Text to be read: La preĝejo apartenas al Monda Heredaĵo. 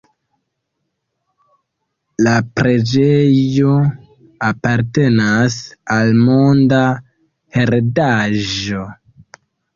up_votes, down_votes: 2, 1